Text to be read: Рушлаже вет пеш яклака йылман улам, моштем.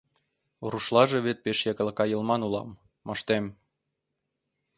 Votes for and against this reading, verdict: 2, 0, accepted